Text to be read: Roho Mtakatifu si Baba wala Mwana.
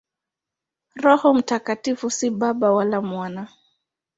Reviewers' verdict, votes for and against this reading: accepted, 2, 0